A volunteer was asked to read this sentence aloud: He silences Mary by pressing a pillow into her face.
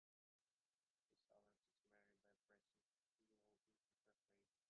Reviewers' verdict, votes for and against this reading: rejected, 0, 2